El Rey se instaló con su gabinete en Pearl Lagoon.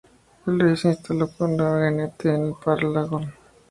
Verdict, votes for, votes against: rejected, 0, 2